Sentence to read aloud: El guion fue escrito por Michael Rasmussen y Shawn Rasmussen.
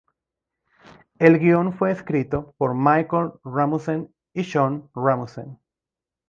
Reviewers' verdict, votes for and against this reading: rejected, 0, 2